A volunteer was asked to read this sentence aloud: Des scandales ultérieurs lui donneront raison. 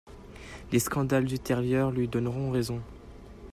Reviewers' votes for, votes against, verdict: 1, 2, rejected